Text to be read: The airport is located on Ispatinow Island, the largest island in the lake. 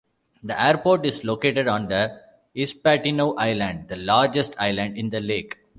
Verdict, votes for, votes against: rejected, 1, 2